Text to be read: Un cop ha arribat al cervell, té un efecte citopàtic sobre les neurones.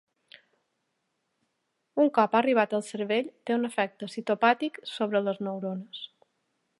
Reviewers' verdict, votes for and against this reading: accepted, 2, 0